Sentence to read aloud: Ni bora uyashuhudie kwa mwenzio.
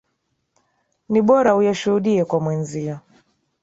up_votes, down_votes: 3, 1